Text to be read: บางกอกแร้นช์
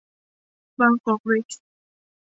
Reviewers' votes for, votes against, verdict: 0, 2, rejected